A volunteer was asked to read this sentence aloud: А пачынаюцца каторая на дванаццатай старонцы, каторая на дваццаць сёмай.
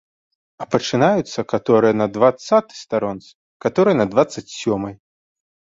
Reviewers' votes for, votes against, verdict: 1, 2, rejected